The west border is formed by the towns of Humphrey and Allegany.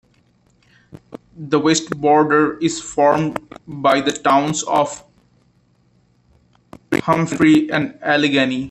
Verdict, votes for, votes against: accepted, 2, 0